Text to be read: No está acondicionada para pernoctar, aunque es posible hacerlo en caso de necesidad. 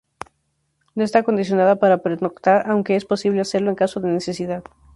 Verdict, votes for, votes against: rejected, 2, 2